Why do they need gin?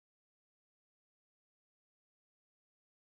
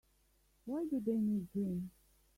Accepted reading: second